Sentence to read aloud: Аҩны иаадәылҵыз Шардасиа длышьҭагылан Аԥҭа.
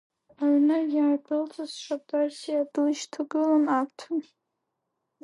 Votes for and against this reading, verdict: 1, 2, rejected